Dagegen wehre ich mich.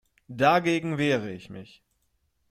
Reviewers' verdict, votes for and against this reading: accepted, 3, 0